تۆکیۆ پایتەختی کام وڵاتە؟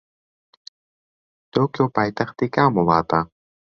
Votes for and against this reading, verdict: 2, 1, accepted